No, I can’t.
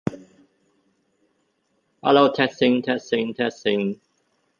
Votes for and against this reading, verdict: 0, 2, rejected